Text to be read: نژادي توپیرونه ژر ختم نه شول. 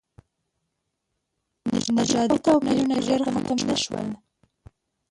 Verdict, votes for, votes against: rejected, 1, 2